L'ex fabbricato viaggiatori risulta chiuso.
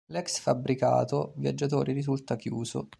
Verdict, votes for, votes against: rejected, 1, 2